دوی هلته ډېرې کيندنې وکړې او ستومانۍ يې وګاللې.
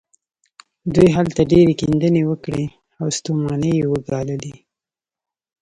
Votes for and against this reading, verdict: 2, 0, accepted